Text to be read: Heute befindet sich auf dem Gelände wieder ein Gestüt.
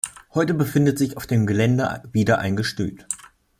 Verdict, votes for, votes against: rejected, 0, 2